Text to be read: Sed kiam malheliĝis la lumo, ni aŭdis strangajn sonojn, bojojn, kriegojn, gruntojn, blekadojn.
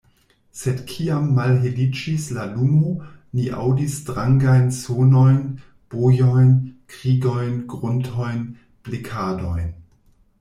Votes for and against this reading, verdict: 1, 2, rejected